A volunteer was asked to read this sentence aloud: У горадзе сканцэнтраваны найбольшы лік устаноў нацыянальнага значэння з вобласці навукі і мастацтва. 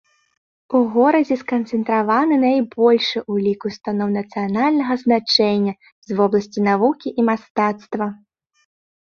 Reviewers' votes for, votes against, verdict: 0, 2, rejected